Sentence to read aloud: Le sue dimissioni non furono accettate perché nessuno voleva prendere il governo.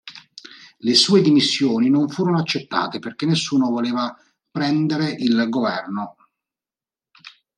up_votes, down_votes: 2, 0